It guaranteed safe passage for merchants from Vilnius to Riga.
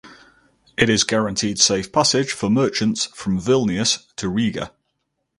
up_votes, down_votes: 0, 2